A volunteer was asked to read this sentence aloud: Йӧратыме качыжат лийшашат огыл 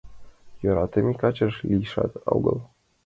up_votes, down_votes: 1, 2